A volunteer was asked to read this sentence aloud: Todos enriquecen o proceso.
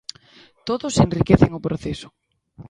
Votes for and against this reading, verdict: 2, 0, accepted